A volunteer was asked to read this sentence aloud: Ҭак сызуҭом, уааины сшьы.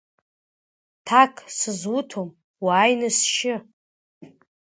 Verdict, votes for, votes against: accepted, 2, 1